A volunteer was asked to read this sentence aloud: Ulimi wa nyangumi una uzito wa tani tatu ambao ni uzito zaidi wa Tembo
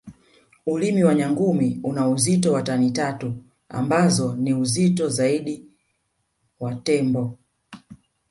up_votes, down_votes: 1, 2